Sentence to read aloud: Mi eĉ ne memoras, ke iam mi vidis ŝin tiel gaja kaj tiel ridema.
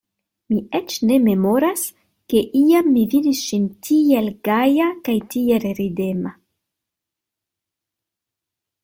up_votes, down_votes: 2, 0